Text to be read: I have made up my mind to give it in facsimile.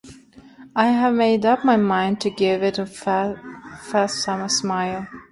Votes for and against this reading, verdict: 1, 2, rejected